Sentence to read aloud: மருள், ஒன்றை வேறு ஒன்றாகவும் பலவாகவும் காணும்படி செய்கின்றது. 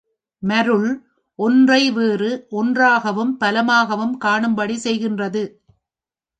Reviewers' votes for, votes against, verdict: 2, 1, accepted